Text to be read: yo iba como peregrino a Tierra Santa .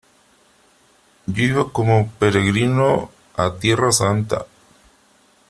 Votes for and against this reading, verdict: 3, 0, accepted